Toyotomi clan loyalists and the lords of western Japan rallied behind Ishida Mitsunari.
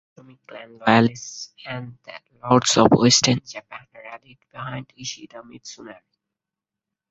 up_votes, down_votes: 0, 4